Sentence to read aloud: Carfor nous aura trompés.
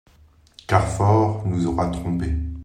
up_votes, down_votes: 2, 0